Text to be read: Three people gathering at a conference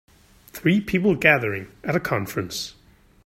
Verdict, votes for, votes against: accepted, 3, 1